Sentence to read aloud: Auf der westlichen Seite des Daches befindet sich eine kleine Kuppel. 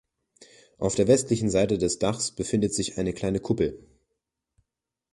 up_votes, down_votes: 3, 0